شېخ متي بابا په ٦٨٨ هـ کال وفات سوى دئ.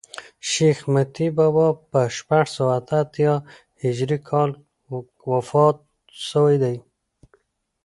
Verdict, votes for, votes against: rejected, 0, 2